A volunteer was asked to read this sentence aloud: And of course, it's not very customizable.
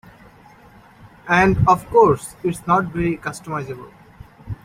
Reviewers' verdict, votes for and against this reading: rejected, 1, 2